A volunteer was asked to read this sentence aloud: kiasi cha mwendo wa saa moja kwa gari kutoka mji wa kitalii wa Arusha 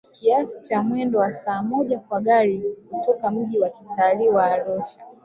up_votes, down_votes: 1, 2